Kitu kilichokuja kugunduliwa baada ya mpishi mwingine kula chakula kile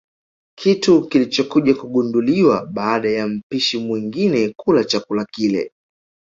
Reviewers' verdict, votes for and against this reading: accepted, 2, 0